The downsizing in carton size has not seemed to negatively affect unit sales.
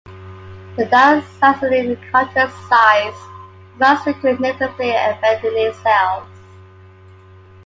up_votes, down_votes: 1, 2